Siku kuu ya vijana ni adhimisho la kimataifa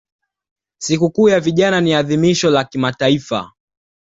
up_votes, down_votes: 2, 0